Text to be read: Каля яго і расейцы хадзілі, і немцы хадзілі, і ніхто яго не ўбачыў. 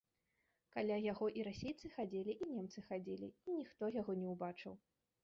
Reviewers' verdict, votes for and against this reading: rejected, 0, 2